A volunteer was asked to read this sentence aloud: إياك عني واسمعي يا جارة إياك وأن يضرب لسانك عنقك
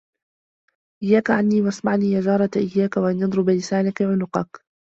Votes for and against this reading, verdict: 0, 2, rejected